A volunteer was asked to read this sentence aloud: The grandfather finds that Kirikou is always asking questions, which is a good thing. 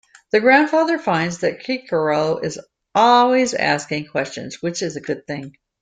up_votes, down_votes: 2, 0